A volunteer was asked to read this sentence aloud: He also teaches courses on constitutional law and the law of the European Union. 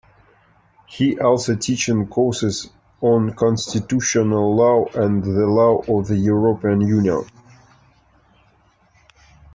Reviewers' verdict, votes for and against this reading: rejected, 0, 2